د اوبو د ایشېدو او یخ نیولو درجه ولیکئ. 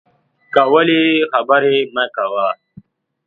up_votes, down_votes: 0, 4